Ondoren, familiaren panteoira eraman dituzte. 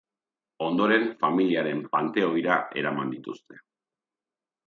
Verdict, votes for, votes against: accepted, 3, 0